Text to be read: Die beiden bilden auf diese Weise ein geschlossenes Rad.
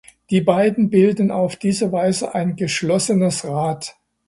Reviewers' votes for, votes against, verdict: 2, 0, accepted